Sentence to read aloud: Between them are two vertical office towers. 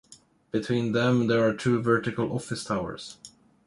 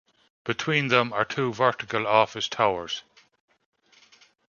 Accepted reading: second